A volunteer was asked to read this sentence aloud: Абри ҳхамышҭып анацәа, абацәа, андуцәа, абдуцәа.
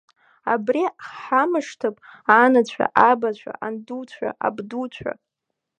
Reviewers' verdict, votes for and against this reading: accepted, 2, 1